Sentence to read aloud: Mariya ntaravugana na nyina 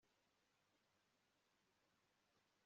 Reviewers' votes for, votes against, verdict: 1, 2, rejected